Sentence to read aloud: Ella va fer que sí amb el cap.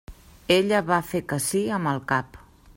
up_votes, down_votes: 3, 0